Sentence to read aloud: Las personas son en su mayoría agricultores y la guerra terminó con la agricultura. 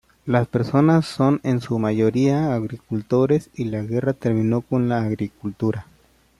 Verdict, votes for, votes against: accepted, 2, 0